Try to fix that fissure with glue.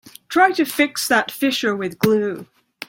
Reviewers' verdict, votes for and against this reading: accepted, 2, 0